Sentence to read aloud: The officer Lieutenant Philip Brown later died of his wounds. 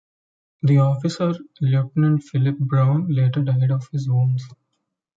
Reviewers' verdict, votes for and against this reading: rejected, 0, 2